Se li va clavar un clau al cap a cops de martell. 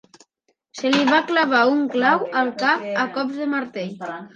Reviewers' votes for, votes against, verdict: 0, 2, rejected